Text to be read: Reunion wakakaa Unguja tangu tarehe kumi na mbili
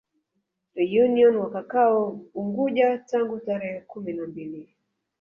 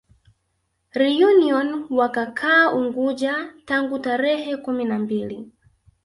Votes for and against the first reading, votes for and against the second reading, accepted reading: 1, 2, 2, 0, second